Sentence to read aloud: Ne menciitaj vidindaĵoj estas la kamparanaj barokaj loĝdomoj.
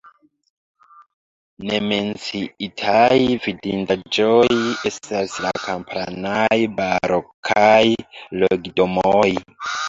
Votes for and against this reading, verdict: 0, 2, rejected